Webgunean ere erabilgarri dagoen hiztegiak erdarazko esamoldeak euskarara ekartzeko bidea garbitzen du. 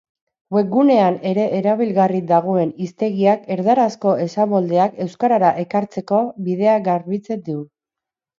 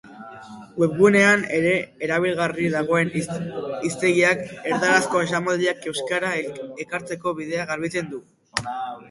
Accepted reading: first